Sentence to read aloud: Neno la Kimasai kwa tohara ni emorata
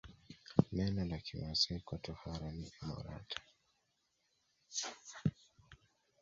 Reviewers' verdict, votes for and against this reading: accepted, 3, 0